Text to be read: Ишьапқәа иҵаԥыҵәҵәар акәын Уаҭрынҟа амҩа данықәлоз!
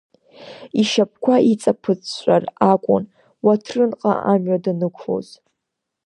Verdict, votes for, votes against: accepted, 2, 0